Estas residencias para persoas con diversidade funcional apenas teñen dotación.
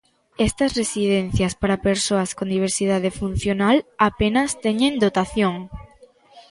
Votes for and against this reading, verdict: 0, 2, rejected